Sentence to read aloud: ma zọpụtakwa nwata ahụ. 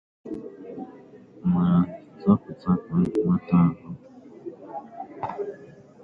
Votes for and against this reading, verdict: 0, 2, rejected